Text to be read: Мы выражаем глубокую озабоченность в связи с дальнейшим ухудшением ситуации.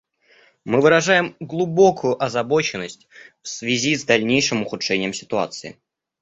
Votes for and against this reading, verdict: 2, 0, accepted